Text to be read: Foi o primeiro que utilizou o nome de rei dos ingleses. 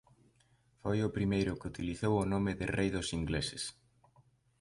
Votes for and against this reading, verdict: 2, 0, accepted